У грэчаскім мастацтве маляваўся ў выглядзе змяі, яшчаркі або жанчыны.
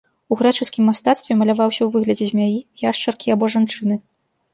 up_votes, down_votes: 3, 0